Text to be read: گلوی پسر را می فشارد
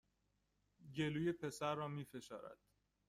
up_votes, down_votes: 2, 0